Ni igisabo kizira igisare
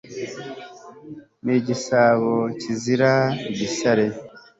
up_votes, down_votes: 2, 0